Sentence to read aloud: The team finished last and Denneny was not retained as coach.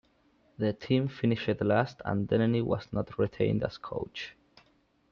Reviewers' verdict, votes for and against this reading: accepted, 2, 1